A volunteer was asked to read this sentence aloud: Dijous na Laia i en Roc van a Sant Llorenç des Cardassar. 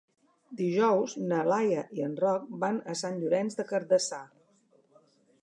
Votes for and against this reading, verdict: 2, 3, rejected